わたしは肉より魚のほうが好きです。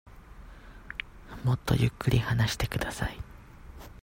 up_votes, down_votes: 0, 2